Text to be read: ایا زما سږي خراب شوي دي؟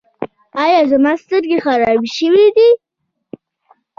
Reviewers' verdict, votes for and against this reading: rejected, 0, 2